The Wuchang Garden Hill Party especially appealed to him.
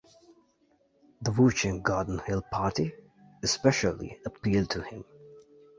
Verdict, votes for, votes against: accepted, 2, 0